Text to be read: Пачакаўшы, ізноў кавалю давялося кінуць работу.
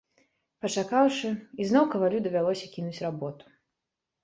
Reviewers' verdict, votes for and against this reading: accepted, 2, 0